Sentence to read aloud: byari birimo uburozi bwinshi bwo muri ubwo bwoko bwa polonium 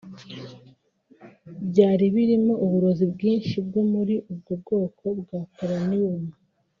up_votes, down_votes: 3, 1